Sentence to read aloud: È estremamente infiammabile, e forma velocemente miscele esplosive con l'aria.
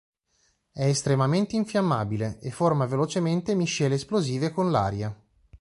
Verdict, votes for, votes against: accepted, 2, 0